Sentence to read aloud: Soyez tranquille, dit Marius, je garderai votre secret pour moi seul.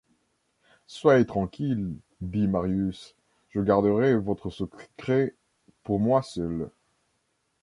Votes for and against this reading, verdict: 1, 2, rejected